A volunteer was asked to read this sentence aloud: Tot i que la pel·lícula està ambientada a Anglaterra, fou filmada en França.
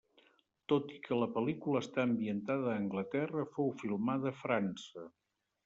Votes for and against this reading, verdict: 1, 2, rejected